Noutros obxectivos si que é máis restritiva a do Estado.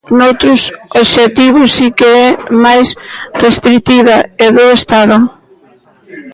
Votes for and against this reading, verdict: 0, 3, rejected